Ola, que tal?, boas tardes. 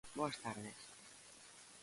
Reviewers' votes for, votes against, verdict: 0, 2, rejected